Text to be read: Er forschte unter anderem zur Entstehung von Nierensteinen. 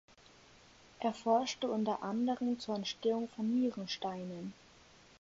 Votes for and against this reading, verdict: 4, 0, accepted